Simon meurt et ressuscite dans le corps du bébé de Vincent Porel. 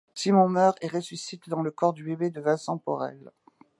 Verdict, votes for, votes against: accepted, 2, 0